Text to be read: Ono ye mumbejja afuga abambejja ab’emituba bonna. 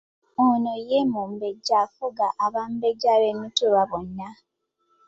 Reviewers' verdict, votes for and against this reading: accepted, 2, 0